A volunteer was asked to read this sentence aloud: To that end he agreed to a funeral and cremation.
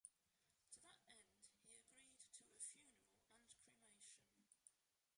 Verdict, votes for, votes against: rejected, 1, 2